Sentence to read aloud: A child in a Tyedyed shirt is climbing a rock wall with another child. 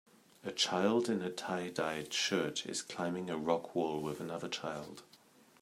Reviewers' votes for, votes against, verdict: 2, 0, accepted